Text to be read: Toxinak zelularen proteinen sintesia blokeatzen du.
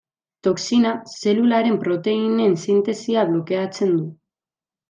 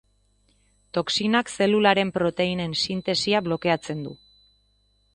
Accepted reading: second